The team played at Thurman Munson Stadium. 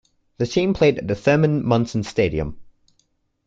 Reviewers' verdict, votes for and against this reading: rejected, 1, 2